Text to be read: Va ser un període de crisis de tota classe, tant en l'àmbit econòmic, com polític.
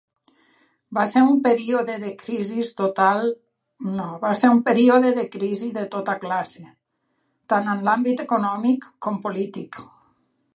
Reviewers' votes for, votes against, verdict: 0, 2, rejected